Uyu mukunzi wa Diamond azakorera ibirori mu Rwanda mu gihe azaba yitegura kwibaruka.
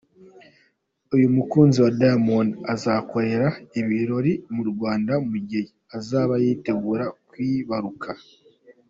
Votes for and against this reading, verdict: 2, 1, accepted